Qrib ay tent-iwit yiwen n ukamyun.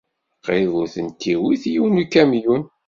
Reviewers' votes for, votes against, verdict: 1, 2, rejected